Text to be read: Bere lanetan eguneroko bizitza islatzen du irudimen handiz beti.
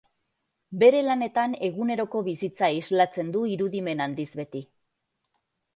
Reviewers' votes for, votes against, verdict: 2, 0, accepted